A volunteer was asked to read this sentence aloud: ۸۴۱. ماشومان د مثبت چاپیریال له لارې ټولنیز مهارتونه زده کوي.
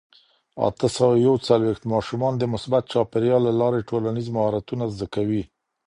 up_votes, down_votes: 0, 2